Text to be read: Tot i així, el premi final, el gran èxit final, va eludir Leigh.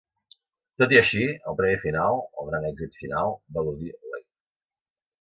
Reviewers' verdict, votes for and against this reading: rejected, 1, 2